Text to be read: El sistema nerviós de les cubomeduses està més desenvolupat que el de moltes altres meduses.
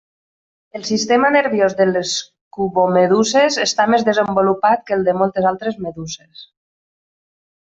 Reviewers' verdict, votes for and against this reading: accepted, 2, 1